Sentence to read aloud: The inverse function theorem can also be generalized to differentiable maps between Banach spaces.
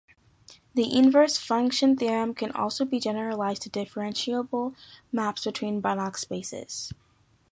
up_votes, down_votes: 2, 0